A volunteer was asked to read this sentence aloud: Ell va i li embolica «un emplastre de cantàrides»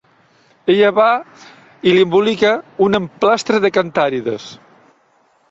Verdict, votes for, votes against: rejected, 0, 2